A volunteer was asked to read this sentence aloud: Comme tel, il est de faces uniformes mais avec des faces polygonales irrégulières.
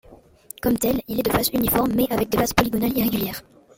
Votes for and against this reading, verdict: 2, 0, accepted